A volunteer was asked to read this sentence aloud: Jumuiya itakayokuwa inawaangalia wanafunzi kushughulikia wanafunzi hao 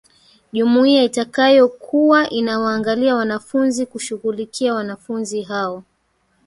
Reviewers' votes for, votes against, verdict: 3, 2, accepted